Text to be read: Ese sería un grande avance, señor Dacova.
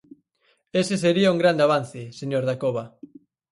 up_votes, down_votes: 4, 0